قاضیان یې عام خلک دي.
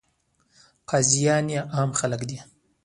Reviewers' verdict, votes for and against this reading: rejected, 1, 2